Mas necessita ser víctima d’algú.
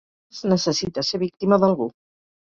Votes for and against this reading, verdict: 2, 4, rejected